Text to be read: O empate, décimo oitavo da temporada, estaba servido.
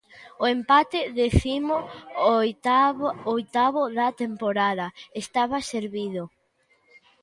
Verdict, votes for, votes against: rejected, 0, 2